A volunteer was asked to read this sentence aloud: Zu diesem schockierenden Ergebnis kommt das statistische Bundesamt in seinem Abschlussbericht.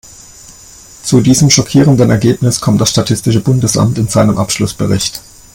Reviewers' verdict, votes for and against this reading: accepted, 2, 0